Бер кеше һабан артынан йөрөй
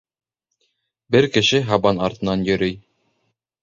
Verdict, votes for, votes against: rejected, 0, 2